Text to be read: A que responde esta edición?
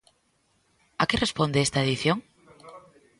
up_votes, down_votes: 1, 2